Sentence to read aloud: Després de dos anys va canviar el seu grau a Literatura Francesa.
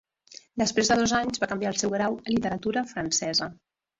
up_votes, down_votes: 4, 2